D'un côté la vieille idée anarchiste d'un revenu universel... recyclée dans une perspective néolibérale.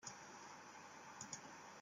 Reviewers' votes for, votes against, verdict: 0, 2, rejected